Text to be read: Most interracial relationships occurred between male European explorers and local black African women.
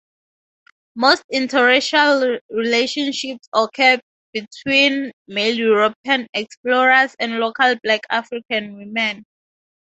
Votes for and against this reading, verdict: 0, 4, rejected